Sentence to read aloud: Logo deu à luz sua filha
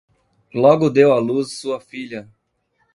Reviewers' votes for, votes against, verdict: 2, 0, accepted